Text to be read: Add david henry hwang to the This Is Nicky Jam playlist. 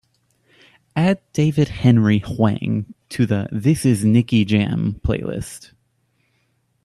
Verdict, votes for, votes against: accepted, 2, 0